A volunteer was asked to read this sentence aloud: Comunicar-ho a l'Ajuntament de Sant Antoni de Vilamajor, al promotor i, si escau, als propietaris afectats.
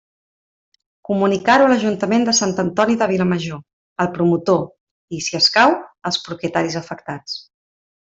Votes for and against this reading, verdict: 3, 0, accepted